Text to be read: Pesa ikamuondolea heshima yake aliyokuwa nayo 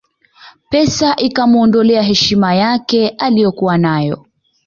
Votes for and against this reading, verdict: 2, 0, accepted